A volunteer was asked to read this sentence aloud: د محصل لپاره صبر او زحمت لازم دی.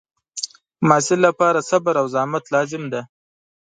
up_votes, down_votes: 2, 0